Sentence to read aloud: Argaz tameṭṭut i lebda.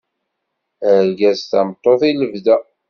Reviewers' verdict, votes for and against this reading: accepted, 2, 0